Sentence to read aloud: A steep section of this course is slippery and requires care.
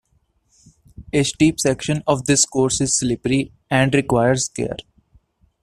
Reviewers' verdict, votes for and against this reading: accepted, 2, 0